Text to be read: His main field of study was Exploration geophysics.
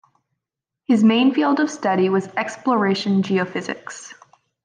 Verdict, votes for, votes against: accepted, 2, 0